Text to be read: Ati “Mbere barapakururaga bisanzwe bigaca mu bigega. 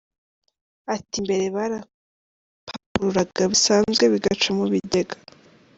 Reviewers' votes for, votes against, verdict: 1, 2, rejected